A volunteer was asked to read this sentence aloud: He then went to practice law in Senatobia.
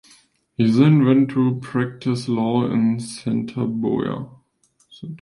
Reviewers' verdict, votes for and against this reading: rejected, 0, 2